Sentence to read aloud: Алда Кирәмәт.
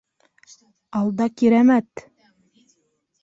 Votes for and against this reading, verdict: 3, 0, accepted